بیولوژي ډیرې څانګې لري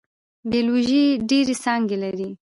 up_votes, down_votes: 2, 0